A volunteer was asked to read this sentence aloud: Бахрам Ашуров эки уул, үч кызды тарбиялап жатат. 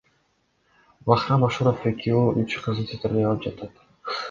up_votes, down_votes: 2, 0